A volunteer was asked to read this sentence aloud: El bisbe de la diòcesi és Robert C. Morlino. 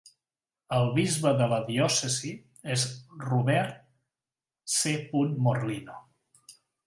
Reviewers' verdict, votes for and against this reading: accepted, 3, 0